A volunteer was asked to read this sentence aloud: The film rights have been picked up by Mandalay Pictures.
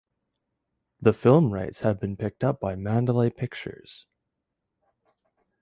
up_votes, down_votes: 2, 0